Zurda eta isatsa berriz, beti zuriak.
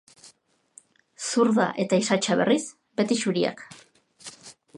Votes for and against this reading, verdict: 2, 0, accepted